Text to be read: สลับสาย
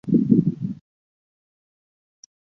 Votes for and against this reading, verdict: 0, 2, rejected